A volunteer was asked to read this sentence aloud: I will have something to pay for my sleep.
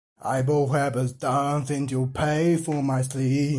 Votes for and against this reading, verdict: 0, 2, rejected